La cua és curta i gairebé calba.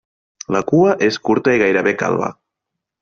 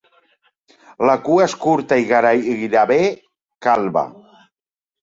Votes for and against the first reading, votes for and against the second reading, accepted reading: 3, 0, 1, 2, first